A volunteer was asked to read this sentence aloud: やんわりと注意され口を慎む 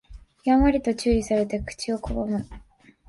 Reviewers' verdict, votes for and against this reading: rejected, 0, 2